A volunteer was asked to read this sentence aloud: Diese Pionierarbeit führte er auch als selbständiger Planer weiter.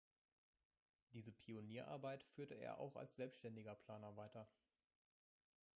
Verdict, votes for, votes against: rejected, 0, 2